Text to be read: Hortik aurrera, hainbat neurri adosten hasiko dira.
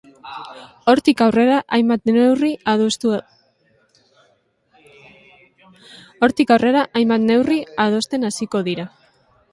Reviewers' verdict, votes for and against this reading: rejected, 0, 2